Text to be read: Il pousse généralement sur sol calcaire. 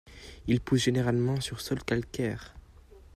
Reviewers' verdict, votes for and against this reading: accepted, 2, 0